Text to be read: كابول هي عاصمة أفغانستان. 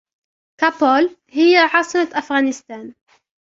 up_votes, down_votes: 0, 2